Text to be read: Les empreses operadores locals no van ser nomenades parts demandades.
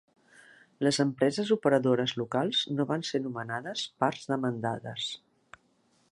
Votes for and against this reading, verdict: 2, 0, accepted